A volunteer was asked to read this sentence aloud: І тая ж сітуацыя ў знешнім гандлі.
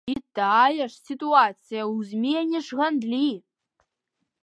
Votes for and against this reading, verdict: 0, 2, rejected